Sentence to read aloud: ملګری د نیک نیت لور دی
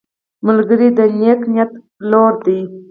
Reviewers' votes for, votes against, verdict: 0, 4, rejected